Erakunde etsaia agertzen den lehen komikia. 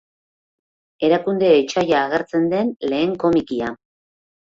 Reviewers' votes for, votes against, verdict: 2, 0, accepted